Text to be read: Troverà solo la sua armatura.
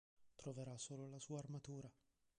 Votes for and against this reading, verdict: 2, 1, accepted